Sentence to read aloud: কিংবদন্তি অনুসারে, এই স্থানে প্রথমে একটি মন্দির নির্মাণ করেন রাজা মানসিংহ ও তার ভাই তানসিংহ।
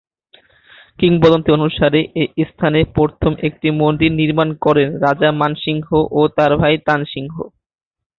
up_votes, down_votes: 3, 1